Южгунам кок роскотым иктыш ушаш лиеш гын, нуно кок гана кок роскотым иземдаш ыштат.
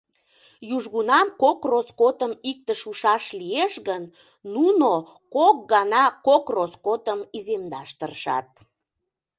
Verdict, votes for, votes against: rejected, 0, 2